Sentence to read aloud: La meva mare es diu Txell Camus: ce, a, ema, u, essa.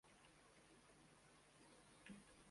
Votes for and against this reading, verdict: 0, 2, rejected